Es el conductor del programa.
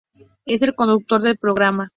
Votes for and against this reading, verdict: 0, 2, rejected